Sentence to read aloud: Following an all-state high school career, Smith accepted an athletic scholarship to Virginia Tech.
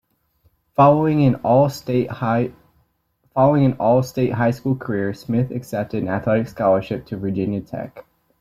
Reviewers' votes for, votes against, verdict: 1, 2, rejected